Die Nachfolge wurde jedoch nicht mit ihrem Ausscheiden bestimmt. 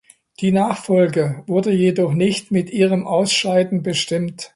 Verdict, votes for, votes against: accepted, 2, 0